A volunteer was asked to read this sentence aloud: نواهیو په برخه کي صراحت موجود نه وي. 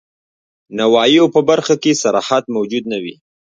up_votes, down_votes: 2, 0